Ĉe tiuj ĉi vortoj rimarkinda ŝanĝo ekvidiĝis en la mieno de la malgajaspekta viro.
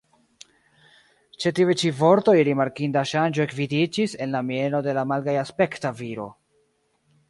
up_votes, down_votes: 0, 2